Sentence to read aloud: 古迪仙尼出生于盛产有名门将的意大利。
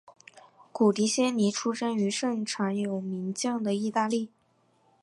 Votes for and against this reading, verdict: 2, 0, accepted